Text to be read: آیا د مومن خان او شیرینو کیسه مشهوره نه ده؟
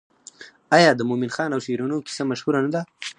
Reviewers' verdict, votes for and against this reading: rejected, 2, 2